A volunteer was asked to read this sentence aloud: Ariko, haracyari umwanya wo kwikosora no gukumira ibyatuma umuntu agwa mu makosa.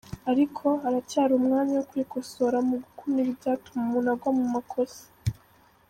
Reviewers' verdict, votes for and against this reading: accepted, 2, 0